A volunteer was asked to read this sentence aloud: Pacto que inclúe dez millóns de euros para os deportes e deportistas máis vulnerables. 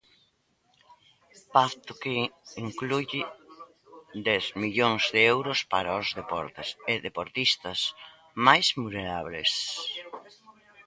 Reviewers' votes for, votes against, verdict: 0, 3, rejected